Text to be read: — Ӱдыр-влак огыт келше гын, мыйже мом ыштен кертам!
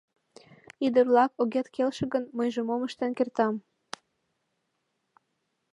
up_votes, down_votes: 1, 2